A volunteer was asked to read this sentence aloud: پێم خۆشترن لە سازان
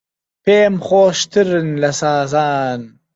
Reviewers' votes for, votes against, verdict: 2, 0, accepted